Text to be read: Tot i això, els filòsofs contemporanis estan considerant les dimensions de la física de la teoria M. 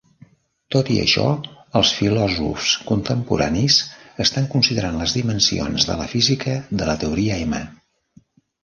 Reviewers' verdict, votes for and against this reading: accepted, 2, 1